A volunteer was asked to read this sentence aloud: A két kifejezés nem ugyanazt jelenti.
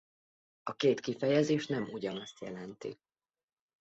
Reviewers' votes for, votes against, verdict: 2, 0, accepted